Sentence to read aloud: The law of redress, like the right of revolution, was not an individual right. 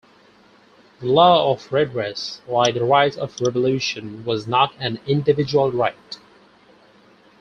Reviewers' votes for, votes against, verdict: 4, 0, accepted